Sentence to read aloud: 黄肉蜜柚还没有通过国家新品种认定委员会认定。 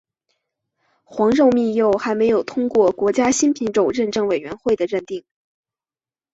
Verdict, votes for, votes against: accepted, 2, 1